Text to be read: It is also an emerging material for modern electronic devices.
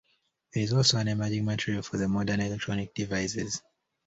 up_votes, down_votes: 1, 2